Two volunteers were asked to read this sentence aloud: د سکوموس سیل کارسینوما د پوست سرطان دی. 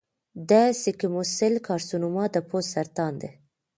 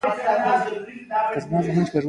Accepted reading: second